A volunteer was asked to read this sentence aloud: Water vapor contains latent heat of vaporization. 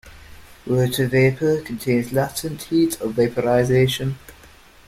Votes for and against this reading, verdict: 0, 2, rejected